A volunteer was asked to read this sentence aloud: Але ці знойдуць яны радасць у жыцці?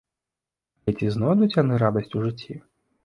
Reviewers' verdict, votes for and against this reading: rejected, 0, 2